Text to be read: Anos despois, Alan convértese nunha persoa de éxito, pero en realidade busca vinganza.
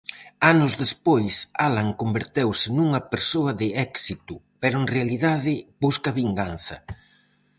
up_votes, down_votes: 0, 4